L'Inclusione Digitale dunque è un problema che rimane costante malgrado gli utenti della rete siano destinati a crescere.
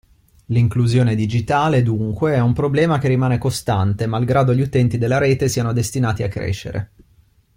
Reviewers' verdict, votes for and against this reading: accepted, 2, 0